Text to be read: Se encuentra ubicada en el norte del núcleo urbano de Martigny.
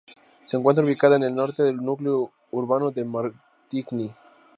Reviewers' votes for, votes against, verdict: 2, 0, accepted